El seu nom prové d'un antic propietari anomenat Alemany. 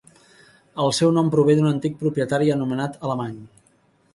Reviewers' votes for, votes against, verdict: 5, 0, accepted